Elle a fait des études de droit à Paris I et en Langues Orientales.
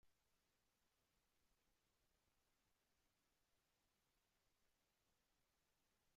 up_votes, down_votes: 0, 2